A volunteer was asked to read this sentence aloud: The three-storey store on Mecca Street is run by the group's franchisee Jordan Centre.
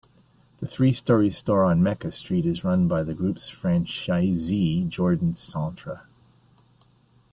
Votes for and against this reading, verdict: 2, 0, accepted